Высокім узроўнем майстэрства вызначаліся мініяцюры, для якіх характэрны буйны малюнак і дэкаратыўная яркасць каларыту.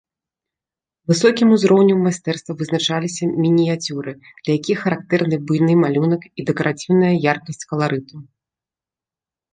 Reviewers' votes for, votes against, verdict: 1, 2, rejected